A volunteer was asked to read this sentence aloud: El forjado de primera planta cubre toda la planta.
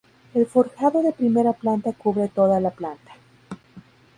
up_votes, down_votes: 2, 0